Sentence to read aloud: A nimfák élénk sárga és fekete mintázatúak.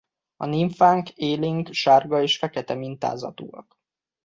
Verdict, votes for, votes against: rejected, 0, 2